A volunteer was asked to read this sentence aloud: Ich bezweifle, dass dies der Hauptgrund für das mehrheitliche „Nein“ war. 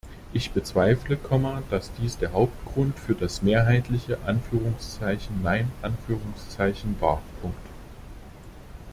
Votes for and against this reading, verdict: 0, 2, rejected